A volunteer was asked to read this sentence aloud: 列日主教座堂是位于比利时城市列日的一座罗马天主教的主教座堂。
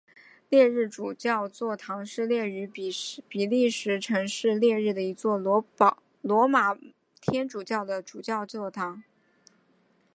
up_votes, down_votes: 1, 2